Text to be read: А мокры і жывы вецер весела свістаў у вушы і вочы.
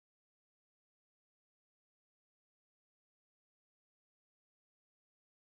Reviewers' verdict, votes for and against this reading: rejected, 0, 2